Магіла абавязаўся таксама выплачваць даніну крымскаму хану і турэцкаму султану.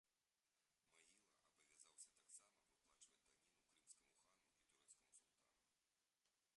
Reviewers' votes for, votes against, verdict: 0, 2, rejected